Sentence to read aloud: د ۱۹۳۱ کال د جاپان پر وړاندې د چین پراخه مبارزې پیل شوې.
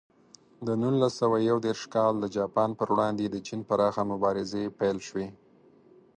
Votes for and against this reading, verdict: 0, 2, rejected